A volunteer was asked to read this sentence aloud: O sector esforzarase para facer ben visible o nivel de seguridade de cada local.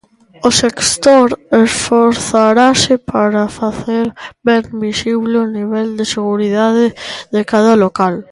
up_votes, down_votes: 0, 2